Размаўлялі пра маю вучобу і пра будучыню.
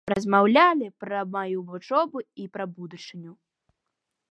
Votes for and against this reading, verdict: 2, 0, accepted